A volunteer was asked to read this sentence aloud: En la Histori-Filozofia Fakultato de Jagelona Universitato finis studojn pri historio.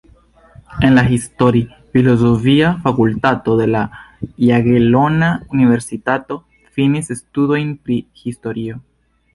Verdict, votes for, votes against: rejected, 1, 2